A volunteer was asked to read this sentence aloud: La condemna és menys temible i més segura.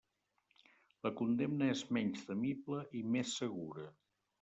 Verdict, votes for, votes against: accepted, 3, 0